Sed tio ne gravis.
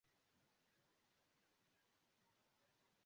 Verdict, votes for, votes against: rejected, 0, 2